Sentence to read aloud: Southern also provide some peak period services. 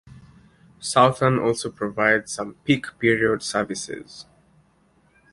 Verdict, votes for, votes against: rejected, 1, 2